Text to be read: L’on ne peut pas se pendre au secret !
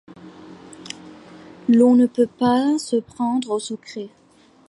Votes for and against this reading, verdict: 2, 1, accepted